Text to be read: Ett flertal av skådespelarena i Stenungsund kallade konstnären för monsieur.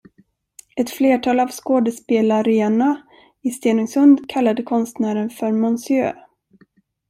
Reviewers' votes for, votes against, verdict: 0, 2, rejected